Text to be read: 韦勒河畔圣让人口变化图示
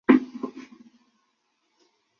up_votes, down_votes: 0, 2